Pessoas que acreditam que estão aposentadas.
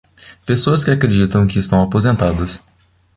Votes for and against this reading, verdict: 2, 0, accepted